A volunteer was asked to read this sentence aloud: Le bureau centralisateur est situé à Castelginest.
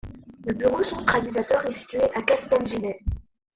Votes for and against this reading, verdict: 0, 2, rejected